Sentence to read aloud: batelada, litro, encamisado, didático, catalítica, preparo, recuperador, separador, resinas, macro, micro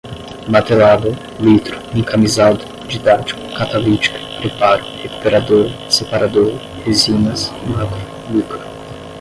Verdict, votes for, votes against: rejected, 5, 5